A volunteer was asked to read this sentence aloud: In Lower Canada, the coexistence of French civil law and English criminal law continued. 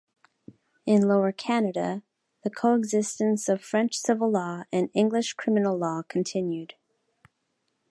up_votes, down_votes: 2, 0